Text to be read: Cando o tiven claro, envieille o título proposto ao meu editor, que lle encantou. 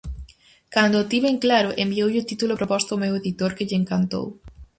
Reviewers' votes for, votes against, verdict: 2, 2, rejected